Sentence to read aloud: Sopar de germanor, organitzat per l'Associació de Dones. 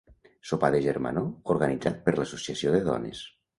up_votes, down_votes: 2, 0